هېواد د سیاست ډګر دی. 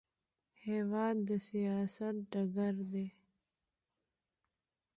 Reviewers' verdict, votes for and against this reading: accepted, 2, 0